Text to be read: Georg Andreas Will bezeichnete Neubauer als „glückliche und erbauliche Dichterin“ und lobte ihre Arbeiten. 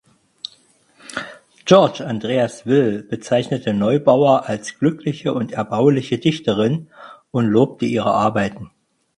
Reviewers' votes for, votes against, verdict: 2, 4, rejected